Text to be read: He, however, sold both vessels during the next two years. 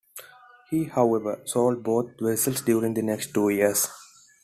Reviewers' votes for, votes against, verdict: 2, 0, accepted